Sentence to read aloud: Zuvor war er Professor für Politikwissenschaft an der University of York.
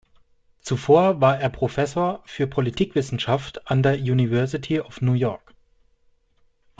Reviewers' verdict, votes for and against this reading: rejected, 0, 2